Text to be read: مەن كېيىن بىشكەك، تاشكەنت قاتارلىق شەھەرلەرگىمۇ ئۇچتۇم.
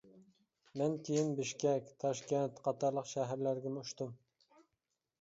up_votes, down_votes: 2, 0